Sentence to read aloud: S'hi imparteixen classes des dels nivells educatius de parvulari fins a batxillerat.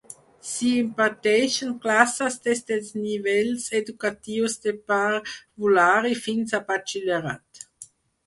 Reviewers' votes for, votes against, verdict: 2, 4, rejected